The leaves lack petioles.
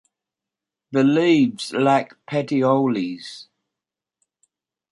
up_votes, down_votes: 2, 0